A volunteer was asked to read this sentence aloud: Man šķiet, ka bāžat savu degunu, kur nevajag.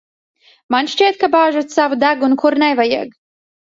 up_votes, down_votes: 2, 0